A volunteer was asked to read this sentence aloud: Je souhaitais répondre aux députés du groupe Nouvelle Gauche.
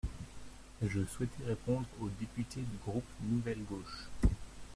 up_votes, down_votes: 0, 2